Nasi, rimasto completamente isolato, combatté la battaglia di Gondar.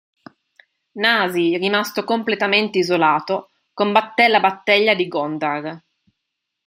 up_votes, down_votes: 1, 2